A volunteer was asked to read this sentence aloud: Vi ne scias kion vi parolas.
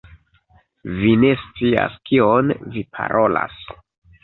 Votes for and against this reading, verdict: 2, 0, accepted